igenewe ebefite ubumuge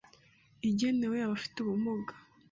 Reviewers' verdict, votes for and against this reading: rejected, 0, 2